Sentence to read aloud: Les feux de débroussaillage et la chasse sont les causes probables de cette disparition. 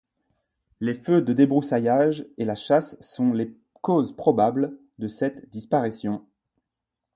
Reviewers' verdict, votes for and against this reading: accepted, 2, 0